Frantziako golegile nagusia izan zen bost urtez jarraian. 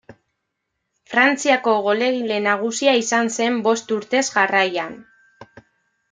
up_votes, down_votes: 1, 2